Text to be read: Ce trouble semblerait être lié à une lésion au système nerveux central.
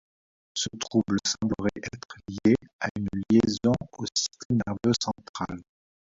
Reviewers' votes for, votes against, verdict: 1, 2, rejected